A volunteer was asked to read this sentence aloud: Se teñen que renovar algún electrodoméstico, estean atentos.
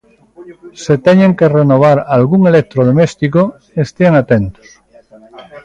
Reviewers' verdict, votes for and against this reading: rejected, 0, 2